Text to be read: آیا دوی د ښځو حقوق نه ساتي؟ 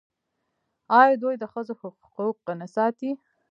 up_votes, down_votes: 2, 0